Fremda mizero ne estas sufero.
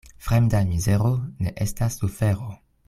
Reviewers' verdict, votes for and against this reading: accepted, 2, 1